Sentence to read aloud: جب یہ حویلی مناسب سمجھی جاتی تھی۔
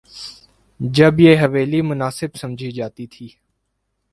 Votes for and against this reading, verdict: 2, 0, accepted